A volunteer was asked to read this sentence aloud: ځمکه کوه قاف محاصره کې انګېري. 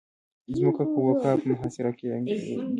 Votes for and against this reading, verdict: 0, 2, rejected